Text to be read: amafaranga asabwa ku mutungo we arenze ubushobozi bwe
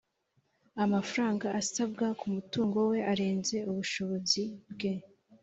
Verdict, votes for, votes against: accepted, 3, 0